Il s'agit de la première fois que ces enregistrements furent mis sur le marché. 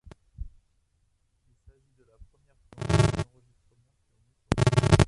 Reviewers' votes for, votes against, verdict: 0, 2, rejected